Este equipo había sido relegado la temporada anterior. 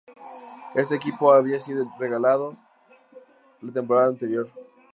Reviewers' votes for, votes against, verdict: 0, 2, rejected